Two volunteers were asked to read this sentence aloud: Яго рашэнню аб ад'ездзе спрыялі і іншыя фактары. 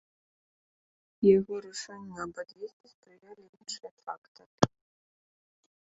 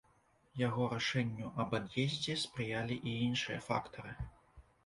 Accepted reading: second